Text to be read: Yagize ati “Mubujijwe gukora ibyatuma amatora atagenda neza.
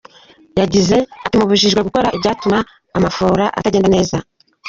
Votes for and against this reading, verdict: 1, 2, rejected